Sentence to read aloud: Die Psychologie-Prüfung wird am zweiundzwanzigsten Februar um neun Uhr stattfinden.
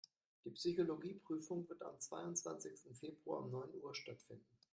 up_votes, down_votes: 2, 1